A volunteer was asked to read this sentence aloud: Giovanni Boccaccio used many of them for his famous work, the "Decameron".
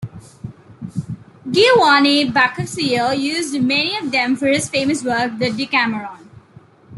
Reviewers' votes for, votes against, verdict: 1, 2, rejected